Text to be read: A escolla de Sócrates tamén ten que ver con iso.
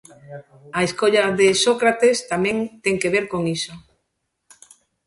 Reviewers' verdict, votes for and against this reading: accepted, 2, 0